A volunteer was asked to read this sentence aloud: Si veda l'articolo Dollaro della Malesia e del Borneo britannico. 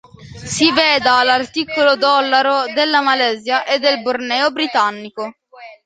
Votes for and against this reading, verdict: 1, 2, rejected